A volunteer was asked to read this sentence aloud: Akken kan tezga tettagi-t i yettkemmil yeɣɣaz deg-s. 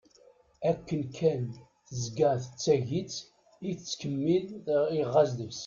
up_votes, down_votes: 0, 2